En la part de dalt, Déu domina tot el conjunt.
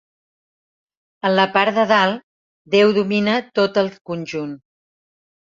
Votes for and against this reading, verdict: 6, 0, accepted